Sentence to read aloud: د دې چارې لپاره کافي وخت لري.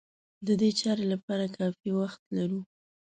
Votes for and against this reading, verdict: 0, 2, rejected